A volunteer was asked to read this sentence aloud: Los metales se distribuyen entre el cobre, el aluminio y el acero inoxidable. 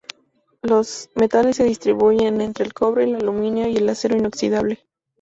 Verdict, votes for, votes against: rejected, 0, 2